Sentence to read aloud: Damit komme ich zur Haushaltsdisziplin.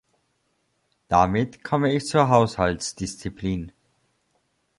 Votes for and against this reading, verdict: 2, 0, accepted